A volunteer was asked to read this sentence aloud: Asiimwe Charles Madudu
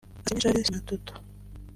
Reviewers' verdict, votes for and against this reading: rejected, 0, 2